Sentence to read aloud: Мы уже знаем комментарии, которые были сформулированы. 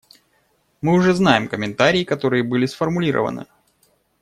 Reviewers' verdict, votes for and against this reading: accepted, 2, 0